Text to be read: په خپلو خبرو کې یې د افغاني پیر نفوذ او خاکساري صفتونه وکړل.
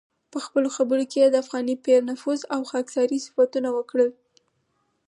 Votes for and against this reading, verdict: 4, 0, accepted